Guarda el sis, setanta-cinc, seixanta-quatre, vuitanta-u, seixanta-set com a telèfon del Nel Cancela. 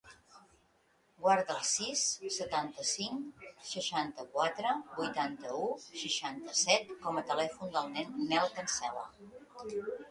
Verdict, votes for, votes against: accepted, 2, 0